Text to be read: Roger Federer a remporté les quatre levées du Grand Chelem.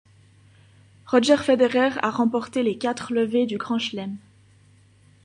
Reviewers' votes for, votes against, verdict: 2, 0, accepted